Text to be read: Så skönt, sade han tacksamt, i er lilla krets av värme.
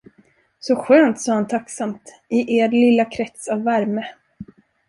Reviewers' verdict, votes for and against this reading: accepted, 2, 0